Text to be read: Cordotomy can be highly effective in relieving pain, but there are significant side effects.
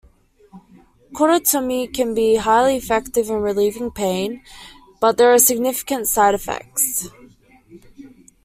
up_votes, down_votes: 2, 0